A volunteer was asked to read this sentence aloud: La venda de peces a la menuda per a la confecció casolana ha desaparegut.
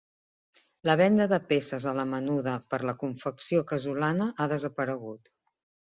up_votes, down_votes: 1, 2